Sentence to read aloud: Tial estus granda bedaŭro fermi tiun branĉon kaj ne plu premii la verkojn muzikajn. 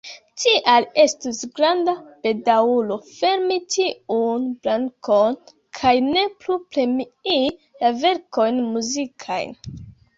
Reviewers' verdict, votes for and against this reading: rejected, 0, 2